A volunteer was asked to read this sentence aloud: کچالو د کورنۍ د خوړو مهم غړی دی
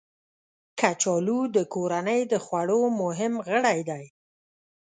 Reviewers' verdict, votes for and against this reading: accepted, 2, 0